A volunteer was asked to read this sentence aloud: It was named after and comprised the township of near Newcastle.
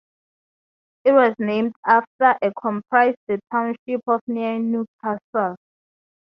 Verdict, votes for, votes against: accepted, 2, 0